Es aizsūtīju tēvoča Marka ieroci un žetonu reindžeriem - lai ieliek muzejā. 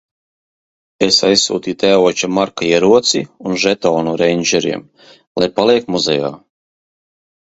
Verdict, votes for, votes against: rejected, 0, 2